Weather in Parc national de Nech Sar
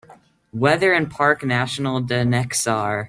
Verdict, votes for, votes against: accepted, 2, 0